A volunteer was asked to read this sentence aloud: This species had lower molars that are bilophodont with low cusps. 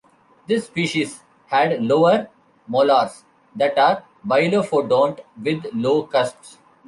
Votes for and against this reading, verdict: 1, 2, rejected